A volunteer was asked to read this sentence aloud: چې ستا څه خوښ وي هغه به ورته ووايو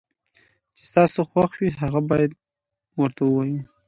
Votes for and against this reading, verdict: 2, 0, accepted